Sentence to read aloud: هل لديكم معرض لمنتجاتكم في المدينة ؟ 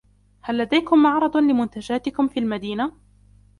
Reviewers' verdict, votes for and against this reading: accepted, 2, 0